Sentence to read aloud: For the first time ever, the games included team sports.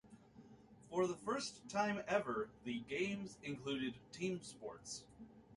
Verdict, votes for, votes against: accepted, 2, 1